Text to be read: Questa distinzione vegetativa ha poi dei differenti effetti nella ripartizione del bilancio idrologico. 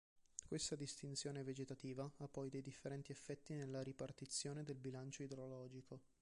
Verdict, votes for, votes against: rejected, 1, 2